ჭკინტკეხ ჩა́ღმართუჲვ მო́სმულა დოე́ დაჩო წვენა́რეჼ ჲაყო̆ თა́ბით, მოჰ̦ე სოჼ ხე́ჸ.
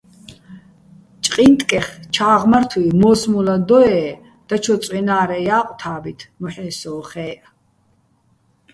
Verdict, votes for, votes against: rejected, 0, 2